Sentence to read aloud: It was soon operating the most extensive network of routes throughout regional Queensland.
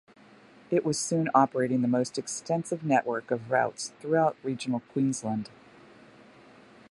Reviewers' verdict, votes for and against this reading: accepted, 2, 0